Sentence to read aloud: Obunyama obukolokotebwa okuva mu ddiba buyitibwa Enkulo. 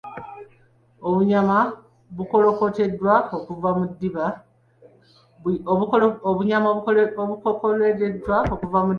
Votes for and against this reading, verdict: 0, 2, rejected